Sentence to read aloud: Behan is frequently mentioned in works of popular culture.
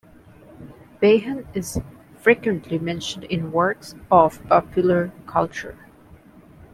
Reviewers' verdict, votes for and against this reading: rejected, 1, 2